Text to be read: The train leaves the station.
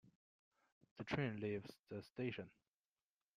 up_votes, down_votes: 2, 0